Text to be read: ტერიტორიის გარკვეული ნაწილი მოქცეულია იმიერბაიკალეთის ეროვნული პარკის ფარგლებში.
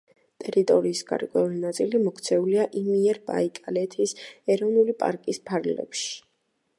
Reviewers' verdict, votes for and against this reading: accepted, 2, 0